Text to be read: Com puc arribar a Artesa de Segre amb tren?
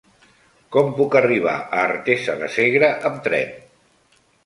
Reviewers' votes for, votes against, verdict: 3, 1, accepted